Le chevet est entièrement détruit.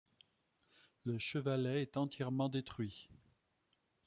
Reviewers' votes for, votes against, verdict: 0, 2, rejected